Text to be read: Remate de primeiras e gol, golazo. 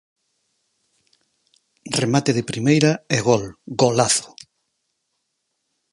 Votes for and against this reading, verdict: 0, 4, rejected